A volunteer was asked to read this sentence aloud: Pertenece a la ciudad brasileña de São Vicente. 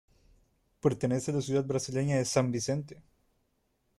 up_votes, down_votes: 0, 2